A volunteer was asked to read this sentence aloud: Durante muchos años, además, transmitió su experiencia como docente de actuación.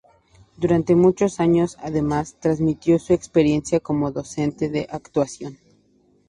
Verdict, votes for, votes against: accepted, 4, 0